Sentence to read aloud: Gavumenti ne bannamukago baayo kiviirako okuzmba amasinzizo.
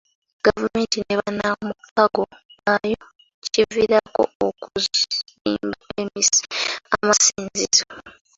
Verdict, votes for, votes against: rejected, 1, 2